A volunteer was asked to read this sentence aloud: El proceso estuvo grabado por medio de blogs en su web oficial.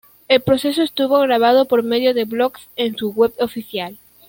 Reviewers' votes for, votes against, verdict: 2, 0, accepted